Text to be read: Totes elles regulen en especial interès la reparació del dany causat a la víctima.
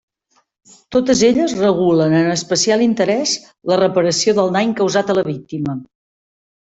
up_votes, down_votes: 2, 0